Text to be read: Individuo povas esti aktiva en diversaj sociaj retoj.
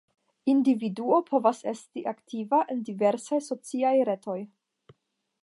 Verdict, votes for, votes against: rejected, 5, 5